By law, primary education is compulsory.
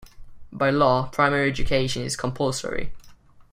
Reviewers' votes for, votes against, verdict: 2, 0, accepted